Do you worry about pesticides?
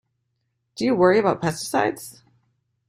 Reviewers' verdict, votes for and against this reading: accepted, 2, 0